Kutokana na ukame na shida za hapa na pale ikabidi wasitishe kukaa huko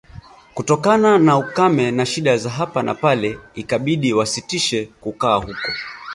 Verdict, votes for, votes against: accepted, 2, 1